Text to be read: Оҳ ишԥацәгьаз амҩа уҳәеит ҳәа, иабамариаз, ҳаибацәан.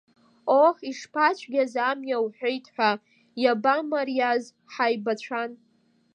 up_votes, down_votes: 2, 0